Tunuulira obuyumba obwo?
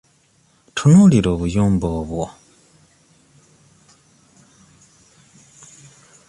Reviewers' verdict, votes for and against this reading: accepted, 2, 0